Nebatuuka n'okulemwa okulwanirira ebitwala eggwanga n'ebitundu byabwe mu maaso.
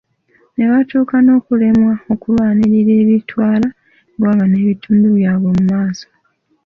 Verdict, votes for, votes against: accepted, 2, 0